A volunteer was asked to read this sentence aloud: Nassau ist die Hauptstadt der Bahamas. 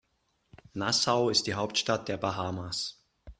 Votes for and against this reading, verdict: 2, 0, accepted